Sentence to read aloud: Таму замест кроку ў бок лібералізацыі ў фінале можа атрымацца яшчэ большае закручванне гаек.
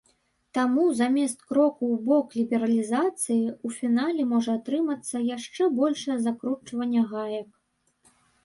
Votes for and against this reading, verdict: 1, 2, rejected